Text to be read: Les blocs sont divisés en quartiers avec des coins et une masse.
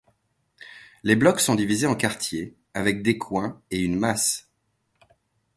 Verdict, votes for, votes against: accepted, 2, 0